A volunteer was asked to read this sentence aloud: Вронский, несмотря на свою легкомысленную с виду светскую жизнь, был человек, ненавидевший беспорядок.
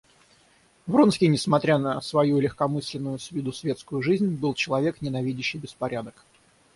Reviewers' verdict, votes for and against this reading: accepted, 6, 0